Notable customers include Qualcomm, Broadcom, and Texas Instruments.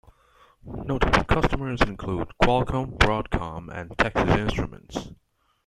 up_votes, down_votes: 2, 0